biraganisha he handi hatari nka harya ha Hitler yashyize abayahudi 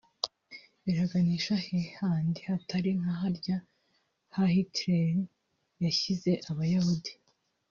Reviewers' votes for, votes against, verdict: 1, 2, rejected